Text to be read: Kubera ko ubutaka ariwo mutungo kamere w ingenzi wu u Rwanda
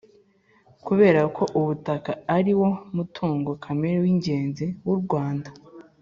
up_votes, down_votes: 2, 0